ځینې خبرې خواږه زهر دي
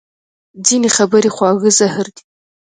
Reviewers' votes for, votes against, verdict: 2, 0, accepted